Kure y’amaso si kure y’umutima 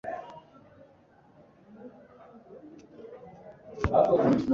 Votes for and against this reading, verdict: 1, 2, rejected